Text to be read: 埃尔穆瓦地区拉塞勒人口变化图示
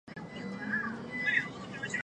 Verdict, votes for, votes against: rejected, 1, 5